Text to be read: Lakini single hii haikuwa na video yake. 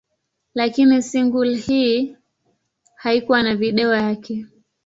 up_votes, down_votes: 2, 0